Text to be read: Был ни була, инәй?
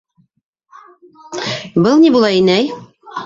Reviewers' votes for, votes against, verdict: 2, 1, accepted